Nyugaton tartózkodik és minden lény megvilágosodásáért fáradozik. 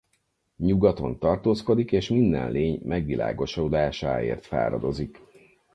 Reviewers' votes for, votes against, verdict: 0, 4, rejected